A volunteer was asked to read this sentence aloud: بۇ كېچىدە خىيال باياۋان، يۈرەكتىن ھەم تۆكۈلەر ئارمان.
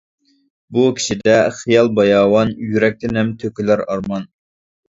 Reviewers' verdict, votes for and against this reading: rejected, 0, 2